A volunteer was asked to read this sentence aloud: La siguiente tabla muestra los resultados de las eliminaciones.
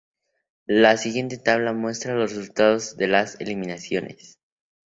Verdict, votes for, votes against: accepted, 2, 0